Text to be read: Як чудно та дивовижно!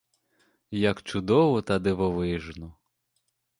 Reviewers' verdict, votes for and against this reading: rejected, 1, 2